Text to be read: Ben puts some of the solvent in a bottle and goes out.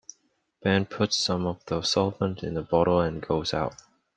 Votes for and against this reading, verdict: 2, 0, accepted